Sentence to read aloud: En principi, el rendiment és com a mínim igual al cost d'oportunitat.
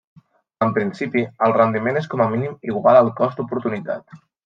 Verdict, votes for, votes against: accepted, 3, 0